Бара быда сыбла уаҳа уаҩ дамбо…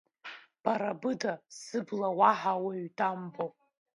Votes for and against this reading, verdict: 1, 2, rejected